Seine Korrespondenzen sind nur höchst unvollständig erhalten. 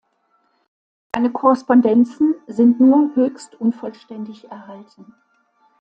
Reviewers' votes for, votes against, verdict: 1, 2, rejected